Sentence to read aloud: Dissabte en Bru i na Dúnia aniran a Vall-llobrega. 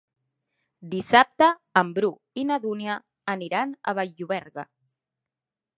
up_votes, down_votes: 0, 2